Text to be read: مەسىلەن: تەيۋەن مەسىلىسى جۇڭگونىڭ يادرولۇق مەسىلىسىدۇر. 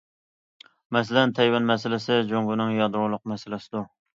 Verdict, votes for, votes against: accepted, 2, 0